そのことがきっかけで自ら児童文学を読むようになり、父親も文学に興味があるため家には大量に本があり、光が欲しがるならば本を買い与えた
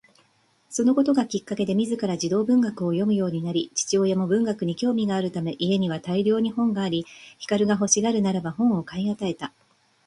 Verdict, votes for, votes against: accepted, 2, 0